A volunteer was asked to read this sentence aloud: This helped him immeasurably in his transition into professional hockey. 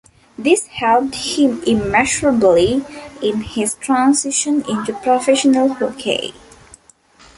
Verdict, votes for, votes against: accepted, 2, 0